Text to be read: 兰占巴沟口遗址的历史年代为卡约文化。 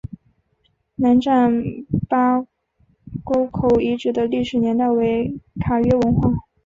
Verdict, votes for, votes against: accepted, 5, 1